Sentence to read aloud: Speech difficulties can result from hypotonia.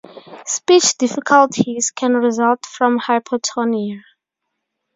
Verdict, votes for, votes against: accepted, 4, 0